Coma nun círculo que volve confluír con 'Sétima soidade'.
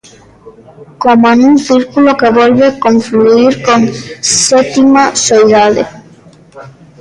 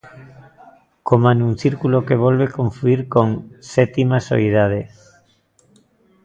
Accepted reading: second